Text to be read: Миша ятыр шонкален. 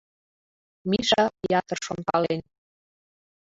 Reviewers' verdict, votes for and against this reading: accepted, 2, 0